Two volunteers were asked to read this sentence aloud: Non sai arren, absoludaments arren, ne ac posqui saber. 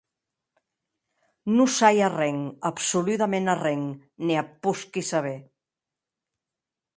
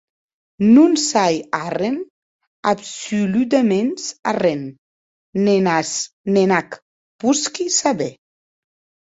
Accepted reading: first